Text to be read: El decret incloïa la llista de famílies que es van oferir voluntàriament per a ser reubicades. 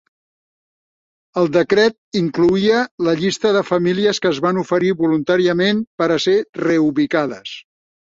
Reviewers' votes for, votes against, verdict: 3, 0, accepted